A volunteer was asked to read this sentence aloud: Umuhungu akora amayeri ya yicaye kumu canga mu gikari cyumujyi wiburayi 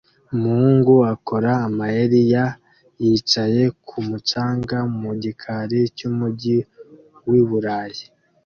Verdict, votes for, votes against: accepted, 2, 0